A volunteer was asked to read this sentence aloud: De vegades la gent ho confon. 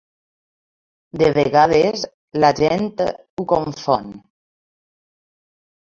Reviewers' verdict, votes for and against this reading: accepted, 2, 0